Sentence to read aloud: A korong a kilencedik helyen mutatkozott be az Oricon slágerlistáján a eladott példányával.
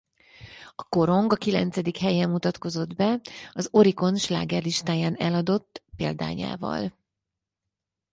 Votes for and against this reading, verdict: 4, 6, rejected